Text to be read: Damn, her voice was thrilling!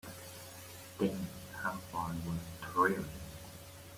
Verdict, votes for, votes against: rejected, 0, 2